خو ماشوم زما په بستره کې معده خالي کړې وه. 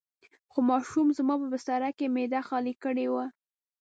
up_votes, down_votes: 2, 0